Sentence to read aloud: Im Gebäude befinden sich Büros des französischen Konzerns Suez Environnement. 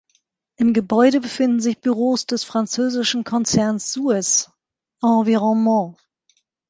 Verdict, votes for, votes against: rejected, 1, 2